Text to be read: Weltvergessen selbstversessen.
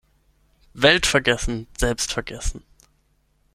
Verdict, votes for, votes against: rejected, 3, 6